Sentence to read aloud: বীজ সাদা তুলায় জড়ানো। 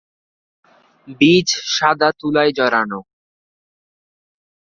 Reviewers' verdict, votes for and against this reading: accepted, 2, 0